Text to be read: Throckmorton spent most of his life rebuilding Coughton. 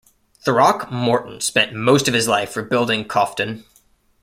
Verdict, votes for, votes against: accepted, 2, 0